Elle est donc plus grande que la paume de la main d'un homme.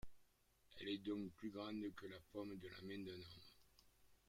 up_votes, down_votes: 0, 2